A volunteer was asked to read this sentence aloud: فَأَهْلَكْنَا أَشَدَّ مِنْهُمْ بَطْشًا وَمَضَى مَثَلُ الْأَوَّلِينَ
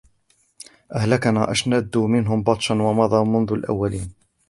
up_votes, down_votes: 1, 2